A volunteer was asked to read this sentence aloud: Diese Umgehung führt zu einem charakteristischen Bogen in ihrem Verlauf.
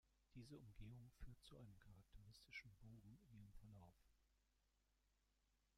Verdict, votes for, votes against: rejected, 1, 2